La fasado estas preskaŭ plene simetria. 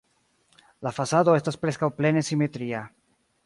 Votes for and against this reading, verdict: 0, 2, rejected